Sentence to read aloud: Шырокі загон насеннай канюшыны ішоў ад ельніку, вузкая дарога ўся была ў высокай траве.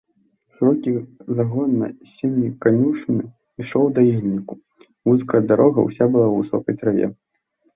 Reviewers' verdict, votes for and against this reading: rejected, 0, 2